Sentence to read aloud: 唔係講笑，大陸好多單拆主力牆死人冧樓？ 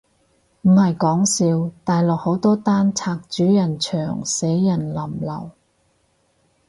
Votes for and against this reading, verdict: 2, 4, rejected